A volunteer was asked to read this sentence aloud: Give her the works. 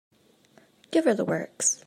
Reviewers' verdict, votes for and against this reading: accepted, 2, 0